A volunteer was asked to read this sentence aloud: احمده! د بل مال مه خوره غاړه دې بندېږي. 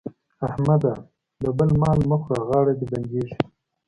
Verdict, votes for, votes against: accepted, 2, 0